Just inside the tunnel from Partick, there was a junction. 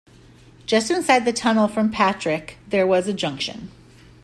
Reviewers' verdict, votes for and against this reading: rejected, 0, 2